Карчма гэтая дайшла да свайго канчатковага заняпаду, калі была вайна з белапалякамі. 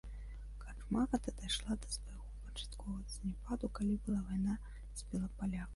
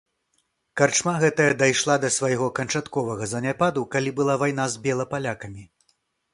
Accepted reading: second